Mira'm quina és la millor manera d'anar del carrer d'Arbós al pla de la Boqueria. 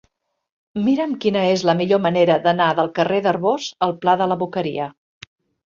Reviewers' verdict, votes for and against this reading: accepted, 4, 0